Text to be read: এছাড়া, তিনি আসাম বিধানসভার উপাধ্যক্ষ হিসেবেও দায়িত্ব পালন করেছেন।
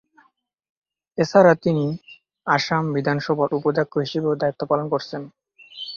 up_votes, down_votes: 0, 2